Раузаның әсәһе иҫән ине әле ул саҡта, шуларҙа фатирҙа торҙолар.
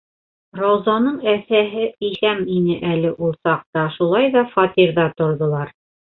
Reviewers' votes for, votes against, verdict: 0, 2, rejected